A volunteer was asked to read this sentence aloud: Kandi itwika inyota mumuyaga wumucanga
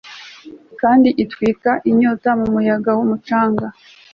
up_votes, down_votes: 2, 0